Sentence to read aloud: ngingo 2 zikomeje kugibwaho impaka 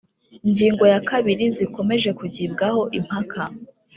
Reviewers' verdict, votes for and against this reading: rejected, 0, 2